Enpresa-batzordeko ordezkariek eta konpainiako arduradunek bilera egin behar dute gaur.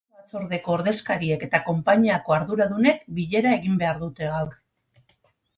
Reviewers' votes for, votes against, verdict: 2, 6, rejected